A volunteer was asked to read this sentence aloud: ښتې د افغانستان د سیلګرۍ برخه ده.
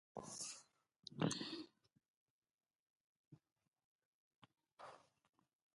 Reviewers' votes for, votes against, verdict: 0, 2, rejected